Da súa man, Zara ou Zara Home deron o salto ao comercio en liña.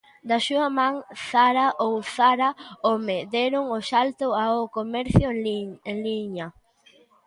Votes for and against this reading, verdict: 0, 2, rejected